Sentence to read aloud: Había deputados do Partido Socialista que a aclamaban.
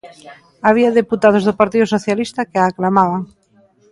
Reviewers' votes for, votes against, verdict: 2, 1, accepted